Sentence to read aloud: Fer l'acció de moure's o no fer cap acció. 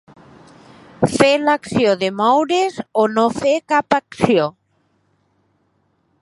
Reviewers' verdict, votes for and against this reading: accepted, 4, 0